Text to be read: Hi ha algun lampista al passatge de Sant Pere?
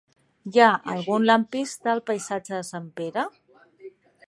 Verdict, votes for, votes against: rejected, 1, 3